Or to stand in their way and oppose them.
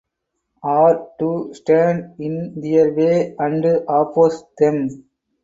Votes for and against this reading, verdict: 2, 4, rejected